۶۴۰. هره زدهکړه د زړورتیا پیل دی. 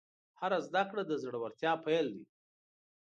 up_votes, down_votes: 0, 2